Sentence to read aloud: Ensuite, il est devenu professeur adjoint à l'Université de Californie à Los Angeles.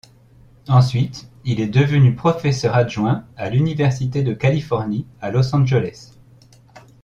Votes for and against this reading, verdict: 2, 0, accepted